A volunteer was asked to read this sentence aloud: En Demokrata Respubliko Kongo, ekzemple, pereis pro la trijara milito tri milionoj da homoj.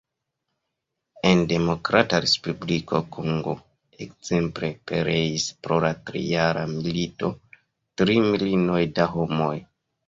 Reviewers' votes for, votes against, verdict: 0, 2, rejected